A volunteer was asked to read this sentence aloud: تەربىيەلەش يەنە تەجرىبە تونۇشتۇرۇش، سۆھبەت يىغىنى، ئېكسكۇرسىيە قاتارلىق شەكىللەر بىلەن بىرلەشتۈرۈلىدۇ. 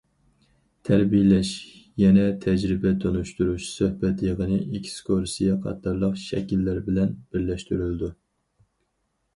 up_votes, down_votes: 2, 2